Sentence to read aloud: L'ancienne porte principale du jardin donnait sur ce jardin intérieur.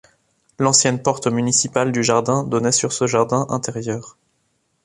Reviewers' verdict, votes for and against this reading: rejected, 0, 2